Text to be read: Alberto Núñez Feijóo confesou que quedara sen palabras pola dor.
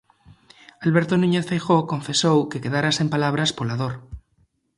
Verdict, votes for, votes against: accepted, 2, 0